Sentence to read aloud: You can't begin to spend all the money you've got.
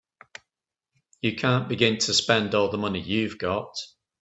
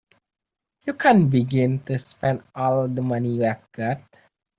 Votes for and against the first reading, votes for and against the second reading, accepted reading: 2, 0, 0, 2, first